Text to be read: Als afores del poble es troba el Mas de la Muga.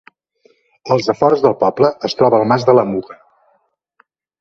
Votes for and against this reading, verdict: 0, 2, rejected